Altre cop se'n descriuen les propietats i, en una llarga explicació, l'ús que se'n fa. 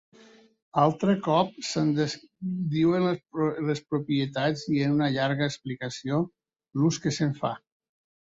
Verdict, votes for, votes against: rejected, 0, 2